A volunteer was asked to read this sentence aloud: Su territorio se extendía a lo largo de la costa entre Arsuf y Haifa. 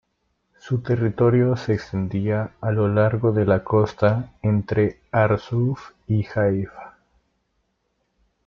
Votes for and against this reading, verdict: 2, 0, accepted